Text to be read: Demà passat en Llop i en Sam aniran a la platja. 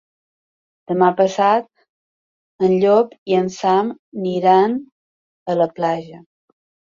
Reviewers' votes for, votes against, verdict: 0, 2, rejected